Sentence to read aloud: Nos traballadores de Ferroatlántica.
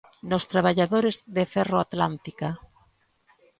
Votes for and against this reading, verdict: 3, 0, accepted